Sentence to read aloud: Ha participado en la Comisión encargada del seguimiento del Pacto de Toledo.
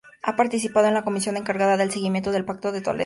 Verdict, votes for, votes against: rejected, 2, 2